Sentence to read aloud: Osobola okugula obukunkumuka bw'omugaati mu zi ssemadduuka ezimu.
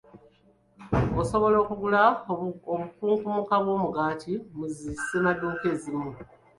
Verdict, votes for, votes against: rejected, 0, 2